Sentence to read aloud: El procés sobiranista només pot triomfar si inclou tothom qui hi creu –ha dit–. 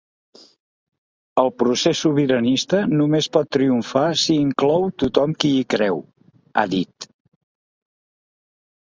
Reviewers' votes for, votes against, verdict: 2, 0, accepted